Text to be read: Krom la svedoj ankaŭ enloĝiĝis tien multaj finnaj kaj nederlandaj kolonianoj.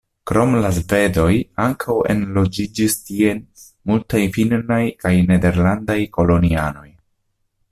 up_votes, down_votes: 0, 2